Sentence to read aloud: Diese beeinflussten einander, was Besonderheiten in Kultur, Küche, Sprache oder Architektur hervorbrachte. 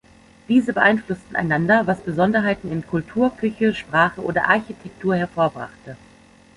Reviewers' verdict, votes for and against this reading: accepted, 2, 0